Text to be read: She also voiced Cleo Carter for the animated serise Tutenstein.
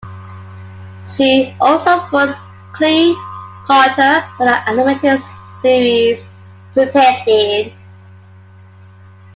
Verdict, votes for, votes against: accepted, 2, 1